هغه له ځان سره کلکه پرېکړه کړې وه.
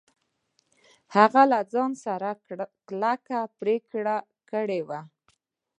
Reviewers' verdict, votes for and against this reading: rejected, 1, 2